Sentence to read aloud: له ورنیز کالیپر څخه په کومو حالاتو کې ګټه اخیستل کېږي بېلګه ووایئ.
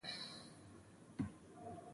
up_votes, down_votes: 1, 2